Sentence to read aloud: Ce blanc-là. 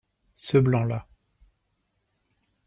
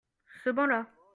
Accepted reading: first